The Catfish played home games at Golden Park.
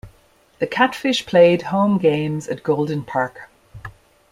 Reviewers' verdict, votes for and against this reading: accepted, 2, 0